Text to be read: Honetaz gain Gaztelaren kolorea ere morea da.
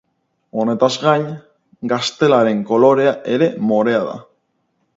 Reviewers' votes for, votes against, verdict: 6, 2, accepted